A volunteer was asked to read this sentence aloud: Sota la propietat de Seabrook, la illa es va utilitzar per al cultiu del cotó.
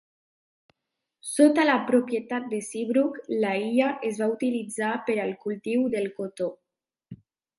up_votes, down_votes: 2, 0